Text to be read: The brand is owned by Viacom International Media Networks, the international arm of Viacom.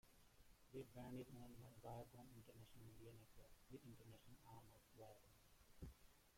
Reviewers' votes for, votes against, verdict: 0, 2, rejected